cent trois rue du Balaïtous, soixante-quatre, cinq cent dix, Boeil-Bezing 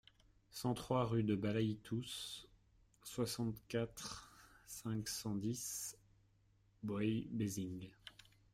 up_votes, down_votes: 1, 2